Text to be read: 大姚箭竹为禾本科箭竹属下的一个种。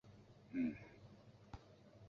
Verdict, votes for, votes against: rejected, 1, 2